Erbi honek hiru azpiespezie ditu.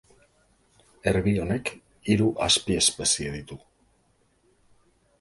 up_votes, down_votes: 2, 0